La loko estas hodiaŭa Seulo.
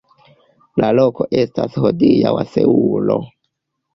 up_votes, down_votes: 1, 2